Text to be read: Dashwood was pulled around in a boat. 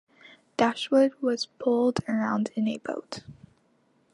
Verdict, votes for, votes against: accepted, 2, 0